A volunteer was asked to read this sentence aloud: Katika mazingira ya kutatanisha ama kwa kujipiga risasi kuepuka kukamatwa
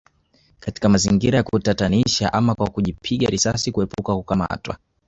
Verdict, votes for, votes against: accepted, 2, 0